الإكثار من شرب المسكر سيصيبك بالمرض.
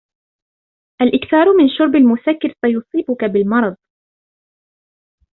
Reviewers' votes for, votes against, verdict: 2, 0, accepted